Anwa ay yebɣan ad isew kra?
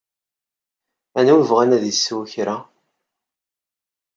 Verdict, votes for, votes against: accepted, 2, 0